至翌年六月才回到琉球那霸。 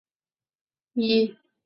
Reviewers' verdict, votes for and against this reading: rejected, 1, 2